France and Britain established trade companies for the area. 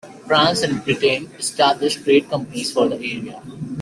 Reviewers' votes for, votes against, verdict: 2, 1, accepted